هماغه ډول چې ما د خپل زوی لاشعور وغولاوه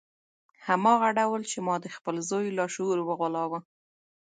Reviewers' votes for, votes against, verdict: 1, 2, rejected